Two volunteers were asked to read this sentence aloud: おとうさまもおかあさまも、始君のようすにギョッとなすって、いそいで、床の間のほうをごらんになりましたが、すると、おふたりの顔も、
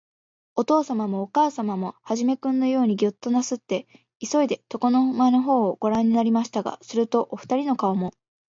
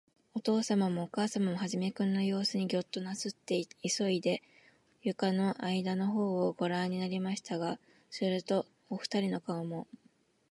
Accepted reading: first